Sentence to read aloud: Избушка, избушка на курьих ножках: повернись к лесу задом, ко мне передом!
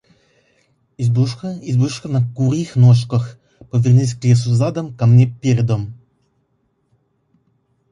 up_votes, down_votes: 0, 2